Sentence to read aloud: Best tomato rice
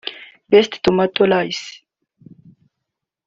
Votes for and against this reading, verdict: 1, 2, rejected